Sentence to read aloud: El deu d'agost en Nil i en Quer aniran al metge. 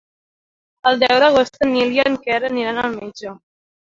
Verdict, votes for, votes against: accepted, 3, 0